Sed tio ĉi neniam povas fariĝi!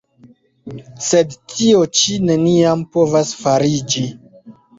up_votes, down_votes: 3, 2